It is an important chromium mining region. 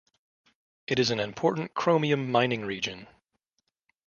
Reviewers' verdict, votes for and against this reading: accepted, 2, 0